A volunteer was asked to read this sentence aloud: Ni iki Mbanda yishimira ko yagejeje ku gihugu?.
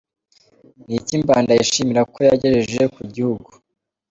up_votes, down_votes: 2, 0